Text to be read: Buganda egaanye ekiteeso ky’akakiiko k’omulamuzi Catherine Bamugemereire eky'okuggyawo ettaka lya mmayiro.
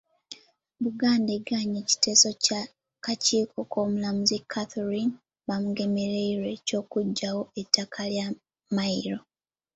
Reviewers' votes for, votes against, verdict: 2, 0, accepted